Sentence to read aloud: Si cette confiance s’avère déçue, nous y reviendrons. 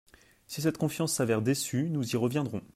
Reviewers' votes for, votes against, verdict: 2, 0, accepted